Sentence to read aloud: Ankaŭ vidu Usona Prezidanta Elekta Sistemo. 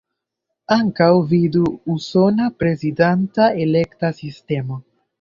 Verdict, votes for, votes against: accepted, 3, 1